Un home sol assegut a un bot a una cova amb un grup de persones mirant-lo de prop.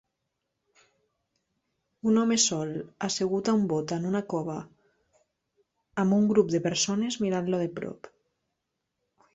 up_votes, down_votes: 2, 0